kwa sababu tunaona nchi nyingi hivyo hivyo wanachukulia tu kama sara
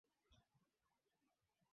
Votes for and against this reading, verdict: 0, 2, rejected